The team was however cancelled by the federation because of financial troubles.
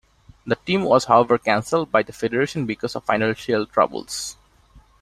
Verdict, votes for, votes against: accepted, 2, 0